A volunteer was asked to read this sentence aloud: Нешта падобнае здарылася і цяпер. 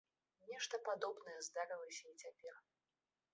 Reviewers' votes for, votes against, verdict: 0, 2, rejected